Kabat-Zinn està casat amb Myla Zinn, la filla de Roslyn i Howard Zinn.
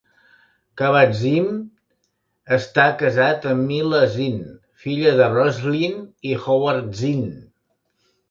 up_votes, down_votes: 1, 2